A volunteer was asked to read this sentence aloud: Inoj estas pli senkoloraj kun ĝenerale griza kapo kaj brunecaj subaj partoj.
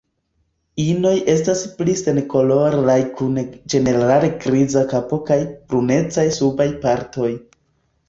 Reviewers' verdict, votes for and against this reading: rejected, 0, 2